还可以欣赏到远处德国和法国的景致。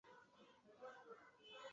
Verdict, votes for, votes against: rejected, 0, 5